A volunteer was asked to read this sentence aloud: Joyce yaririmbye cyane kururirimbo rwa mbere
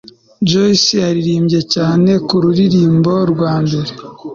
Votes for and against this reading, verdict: 2, 0, accepted